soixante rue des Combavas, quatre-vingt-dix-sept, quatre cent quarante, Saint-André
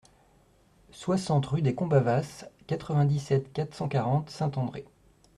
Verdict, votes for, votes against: accepted, 2, 0